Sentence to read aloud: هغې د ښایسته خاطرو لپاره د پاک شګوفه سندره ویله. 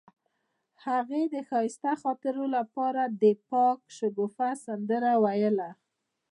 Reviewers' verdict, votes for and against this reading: rejected, 0, 2